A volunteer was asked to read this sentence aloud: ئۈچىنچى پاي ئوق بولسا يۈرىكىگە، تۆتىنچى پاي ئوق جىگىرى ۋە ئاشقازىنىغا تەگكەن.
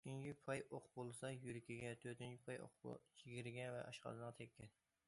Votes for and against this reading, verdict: 1, 2, rejected